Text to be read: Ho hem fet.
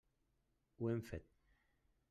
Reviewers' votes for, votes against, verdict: 3, 0, accepted